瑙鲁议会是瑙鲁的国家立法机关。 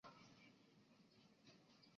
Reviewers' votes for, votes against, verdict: 0, 2, rejected